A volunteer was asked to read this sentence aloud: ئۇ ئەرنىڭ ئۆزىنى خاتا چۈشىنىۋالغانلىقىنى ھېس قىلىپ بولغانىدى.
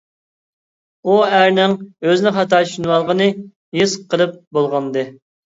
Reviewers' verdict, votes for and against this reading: rejected, 0, 2